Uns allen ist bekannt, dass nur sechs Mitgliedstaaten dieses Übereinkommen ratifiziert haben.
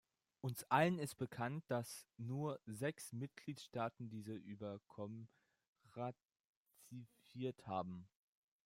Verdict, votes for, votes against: rejected, 0, 2